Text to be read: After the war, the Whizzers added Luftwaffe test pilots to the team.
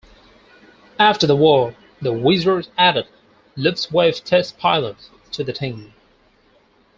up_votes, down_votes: 2, 4